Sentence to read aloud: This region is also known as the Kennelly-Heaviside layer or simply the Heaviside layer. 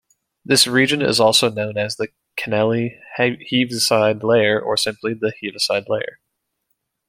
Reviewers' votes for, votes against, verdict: 1, 2, rejected